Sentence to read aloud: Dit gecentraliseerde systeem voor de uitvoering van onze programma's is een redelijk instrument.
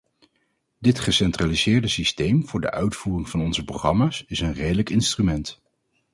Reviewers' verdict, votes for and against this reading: rejected, 2, 2